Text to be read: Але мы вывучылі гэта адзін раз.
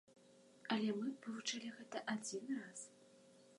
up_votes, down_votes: 1, 2